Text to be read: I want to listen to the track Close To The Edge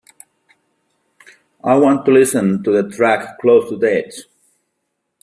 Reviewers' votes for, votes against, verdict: 2, 0, accepted